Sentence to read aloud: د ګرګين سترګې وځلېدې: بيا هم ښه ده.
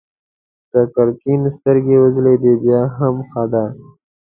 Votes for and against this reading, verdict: 2, 0, accepted